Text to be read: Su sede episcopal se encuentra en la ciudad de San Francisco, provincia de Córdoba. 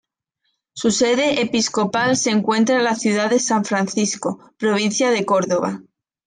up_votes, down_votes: 2, 0